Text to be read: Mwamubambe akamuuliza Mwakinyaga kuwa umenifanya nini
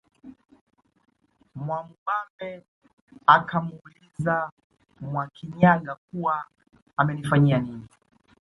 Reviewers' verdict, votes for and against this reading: rejected, 0, 2